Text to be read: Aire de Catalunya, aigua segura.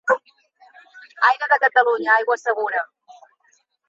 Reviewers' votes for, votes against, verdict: 2, 0, accepted